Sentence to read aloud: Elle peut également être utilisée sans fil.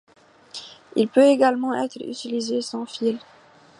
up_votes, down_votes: 2, 0